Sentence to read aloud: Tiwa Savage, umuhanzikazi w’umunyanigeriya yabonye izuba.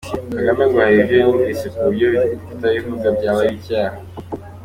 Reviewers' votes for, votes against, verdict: 1, 3, rejected